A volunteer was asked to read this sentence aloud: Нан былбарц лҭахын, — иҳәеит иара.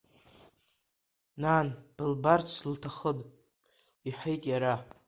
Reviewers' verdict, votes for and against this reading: accepted, 2, 1